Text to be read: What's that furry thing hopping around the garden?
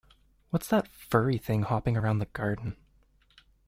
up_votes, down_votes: 2, 0